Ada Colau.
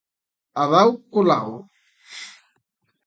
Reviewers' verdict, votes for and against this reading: rejected, 0, 2